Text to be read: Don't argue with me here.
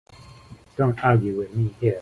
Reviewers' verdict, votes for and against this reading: accepted, 2, 1